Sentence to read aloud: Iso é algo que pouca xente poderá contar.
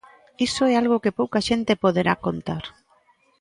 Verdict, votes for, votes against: accepted, 2, 0